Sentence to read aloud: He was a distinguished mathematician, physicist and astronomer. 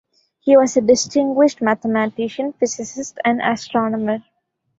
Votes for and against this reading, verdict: 2, 0, accepted